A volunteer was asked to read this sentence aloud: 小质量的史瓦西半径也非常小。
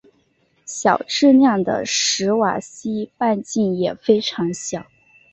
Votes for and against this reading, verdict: 2, 0, accepted